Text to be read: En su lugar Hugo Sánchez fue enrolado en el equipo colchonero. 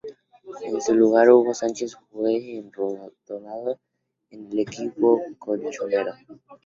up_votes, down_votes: 0, 2